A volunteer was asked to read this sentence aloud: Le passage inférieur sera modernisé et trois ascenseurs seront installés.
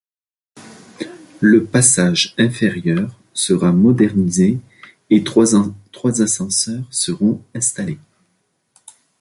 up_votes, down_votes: 0, 2